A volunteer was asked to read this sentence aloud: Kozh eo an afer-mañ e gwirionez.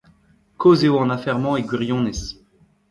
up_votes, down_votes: 1, 2